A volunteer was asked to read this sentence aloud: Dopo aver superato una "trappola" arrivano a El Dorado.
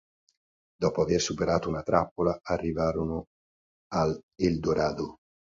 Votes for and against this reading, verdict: 1, 2, rejected